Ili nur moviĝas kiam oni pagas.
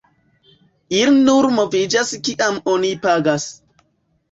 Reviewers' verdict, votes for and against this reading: rejected, 1, 2